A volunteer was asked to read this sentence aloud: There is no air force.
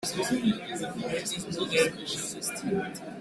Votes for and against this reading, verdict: 0, 2, rejected